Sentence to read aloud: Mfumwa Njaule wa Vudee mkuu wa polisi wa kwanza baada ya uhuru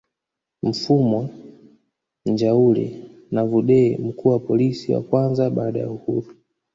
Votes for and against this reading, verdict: 1, 2, rejected